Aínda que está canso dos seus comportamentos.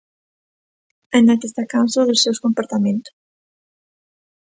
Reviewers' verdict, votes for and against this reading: rejected, 0, 2